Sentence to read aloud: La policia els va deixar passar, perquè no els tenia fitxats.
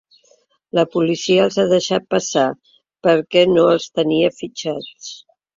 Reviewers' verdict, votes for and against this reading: rejected, 0, 2